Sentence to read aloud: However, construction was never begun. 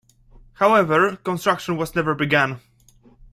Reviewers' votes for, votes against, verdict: 2, 1, accepted